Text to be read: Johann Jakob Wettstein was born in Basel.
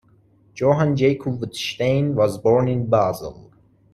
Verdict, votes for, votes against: rejected, 1, 2